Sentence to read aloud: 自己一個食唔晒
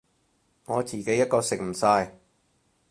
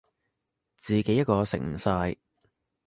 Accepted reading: second